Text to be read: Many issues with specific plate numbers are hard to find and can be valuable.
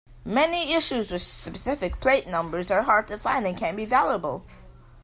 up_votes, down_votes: 2, 0